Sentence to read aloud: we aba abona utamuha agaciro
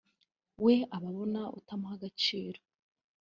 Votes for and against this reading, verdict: 2, 0, accepted